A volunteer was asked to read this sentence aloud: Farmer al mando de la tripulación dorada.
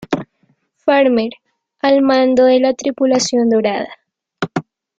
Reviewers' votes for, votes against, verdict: 2, 0, accepted